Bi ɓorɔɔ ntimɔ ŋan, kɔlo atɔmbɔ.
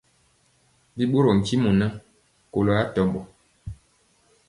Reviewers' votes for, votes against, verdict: 2, 0, accepted